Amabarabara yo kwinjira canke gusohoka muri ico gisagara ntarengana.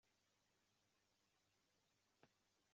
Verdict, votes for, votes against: rejected, 0, 2